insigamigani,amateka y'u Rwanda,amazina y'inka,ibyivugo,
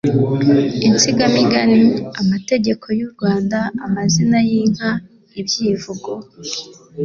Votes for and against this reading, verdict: 2, 0, accepted